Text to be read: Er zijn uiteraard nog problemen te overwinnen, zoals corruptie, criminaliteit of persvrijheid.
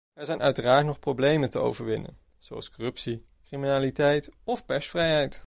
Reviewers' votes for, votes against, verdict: 2, 0, accepted